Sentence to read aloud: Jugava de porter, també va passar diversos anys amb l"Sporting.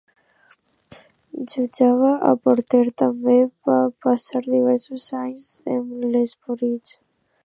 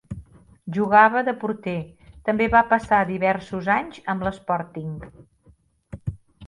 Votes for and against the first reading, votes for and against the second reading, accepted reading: 1, 2, 3, 0, second